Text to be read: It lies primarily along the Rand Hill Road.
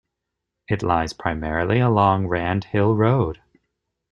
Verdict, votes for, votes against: rejected, 1, 2